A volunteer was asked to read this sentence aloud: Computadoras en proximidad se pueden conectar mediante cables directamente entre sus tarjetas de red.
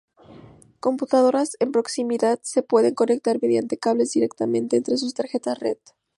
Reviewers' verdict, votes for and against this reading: rejected, 0, 2